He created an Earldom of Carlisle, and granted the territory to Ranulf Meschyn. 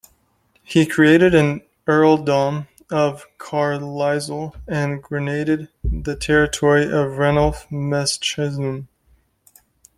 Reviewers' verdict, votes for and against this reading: rejected, 0, 2